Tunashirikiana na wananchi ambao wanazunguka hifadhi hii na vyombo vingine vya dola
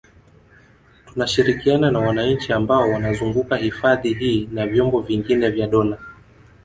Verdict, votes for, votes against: accepted, 5, 0